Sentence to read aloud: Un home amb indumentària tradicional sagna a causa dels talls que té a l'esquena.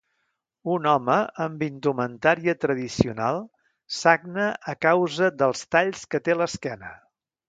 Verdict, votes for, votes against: accepted, 2, 0